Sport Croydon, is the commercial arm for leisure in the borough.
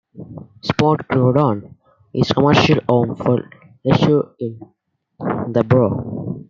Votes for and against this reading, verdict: 1, 2, rejected